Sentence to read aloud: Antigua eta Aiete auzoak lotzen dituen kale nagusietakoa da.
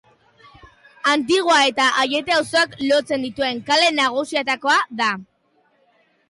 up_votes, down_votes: 2, 0